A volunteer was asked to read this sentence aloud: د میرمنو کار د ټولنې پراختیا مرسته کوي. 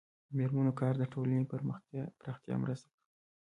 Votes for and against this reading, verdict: 1, 2, rejected